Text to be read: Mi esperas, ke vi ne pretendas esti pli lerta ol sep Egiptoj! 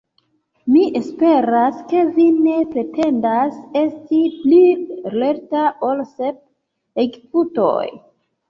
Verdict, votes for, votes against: rejected, 2, 3